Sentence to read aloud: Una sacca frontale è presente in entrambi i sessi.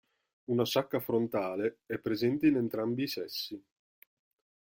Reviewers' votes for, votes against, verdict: 2, 0, accepted